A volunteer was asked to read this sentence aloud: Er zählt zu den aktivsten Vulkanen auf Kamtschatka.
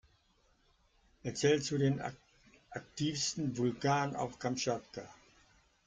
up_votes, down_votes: 1, 2